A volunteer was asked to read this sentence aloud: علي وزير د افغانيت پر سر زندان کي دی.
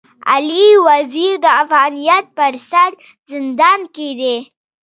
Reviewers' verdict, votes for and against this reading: accepted, 2, 0